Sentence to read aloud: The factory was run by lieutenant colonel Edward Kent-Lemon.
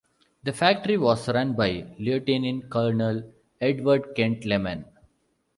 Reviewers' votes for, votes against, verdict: 2, 0, accepted